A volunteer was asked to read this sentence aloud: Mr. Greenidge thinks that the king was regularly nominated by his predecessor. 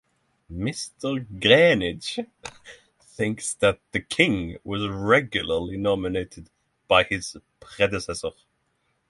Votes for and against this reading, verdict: 3, 3, rejected